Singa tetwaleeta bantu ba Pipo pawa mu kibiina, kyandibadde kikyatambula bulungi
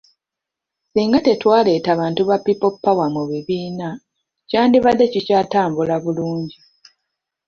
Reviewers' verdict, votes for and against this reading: rejected, 0, 2